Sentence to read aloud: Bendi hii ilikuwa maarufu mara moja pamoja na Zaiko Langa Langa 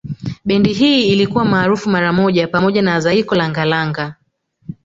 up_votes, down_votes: 2, 0